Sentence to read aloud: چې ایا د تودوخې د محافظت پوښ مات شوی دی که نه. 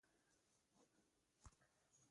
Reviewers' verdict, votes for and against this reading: rejected, 0, 2